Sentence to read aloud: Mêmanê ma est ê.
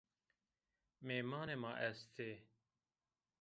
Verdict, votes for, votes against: rejected, 0, 2